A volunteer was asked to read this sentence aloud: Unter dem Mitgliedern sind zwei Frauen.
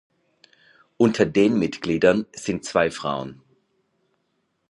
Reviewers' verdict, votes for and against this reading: rejected, 1, 2